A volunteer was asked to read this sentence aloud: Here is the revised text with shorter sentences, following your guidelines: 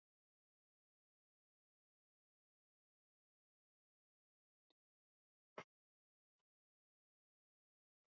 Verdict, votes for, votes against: rejected, 0, 2